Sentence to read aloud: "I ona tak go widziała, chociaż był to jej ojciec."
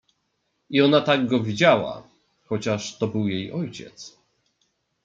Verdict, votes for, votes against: rejected, 1, 2